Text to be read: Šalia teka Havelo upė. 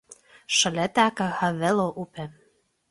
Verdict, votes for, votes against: accepted, 2, 0